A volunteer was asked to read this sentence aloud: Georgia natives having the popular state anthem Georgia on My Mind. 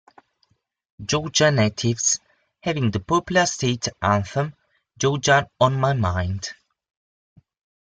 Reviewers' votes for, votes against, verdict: 2, 0, accepted